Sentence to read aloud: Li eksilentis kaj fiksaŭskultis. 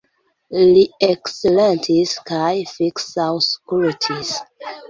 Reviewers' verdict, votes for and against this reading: accepted, 2, 0